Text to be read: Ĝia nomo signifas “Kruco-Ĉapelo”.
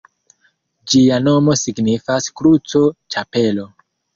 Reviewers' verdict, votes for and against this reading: accepted, 2, 1